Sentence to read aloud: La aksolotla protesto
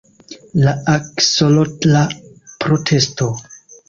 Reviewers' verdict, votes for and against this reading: accepted, 2, 0